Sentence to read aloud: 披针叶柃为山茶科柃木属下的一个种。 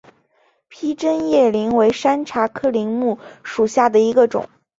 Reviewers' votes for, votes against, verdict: 3, 0, accepted